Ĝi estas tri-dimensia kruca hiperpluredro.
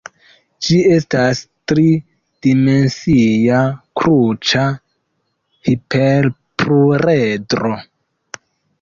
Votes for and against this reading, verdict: 0, 2, rejected